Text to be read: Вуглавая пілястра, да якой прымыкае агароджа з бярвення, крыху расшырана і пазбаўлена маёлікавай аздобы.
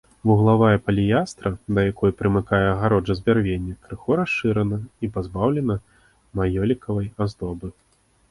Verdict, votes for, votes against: rejected, 1, 2